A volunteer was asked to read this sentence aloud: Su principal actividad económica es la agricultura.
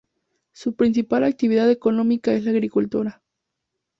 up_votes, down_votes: 2, 0